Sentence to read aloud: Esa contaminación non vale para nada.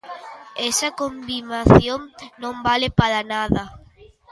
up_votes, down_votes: 0, 2